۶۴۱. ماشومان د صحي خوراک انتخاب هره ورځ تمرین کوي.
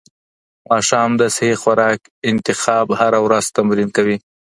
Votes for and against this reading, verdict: 0, 2, rejected